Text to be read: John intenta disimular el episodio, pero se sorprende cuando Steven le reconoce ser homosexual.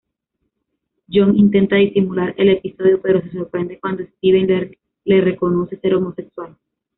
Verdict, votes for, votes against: rejected, 1, 2